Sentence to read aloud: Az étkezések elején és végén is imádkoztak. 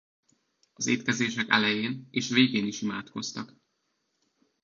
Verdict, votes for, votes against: accepted, 2, 1